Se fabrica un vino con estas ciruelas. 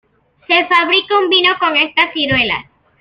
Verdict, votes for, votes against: accepted, 2, 0